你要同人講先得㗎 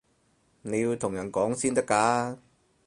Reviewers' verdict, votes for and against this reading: accepted, 4, 0